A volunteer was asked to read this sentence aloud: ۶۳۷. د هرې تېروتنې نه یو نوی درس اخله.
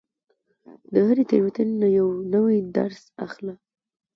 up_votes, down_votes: 0, 2